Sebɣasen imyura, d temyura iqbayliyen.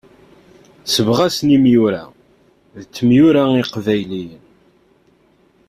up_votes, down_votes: 2, 0